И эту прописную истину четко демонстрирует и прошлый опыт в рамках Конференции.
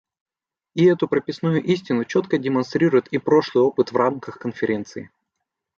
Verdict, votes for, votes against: accepted, 2, 0